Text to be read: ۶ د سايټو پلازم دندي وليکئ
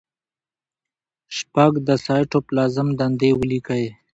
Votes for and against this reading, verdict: 0, 2, rejected